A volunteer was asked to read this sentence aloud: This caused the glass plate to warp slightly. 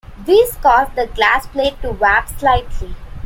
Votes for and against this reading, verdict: 2, 0, accepted